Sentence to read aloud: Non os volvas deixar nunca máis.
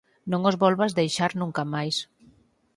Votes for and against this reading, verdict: 4, 0, accepted